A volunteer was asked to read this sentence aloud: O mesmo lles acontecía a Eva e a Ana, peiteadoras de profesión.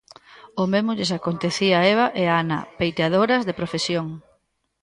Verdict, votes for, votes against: rejected, 0, 2